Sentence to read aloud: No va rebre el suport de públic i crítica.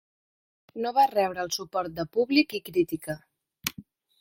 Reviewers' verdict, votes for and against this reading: rejected, 1, 2